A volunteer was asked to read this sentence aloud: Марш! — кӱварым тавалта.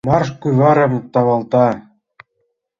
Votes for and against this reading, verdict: 4, 0, accepted